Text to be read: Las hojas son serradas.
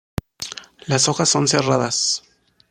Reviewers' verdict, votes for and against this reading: accepted, 2, 0